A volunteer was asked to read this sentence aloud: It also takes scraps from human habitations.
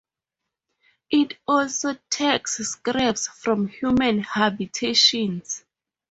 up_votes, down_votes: 2, 2